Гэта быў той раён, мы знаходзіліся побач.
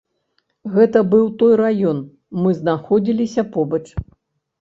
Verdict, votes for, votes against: accepted, 2, 0